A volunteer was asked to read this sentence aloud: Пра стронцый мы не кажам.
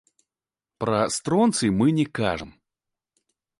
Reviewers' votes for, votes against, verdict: 0, 2, rejected